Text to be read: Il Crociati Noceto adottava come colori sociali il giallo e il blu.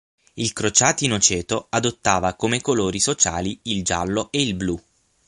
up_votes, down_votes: 6, 0